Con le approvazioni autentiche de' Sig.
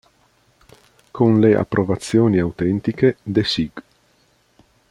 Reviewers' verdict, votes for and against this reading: accepted, 2, 0